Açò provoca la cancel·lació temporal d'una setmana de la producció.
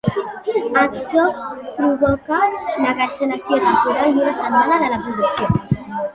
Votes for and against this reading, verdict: 0, 2, rejected